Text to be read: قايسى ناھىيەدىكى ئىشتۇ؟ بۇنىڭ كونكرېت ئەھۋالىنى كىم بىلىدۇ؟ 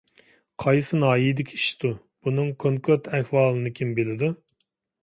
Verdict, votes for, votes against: accepted, 2, 0